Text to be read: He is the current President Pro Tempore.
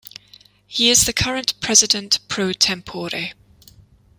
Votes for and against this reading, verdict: 1, 2, rejected